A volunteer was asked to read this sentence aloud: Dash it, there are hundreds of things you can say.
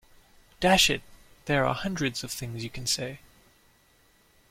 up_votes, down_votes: 2, 0